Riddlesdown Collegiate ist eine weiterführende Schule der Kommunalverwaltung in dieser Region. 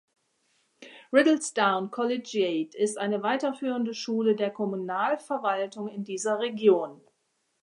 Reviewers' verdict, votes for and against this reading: accepted, 2, 0